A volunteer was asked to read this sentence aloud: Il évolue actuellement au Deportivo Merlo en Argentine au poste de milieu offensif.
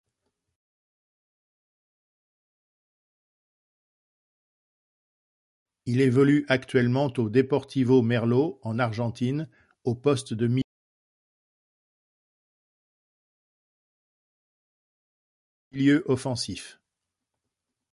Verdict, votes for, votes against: rejected, 1, 2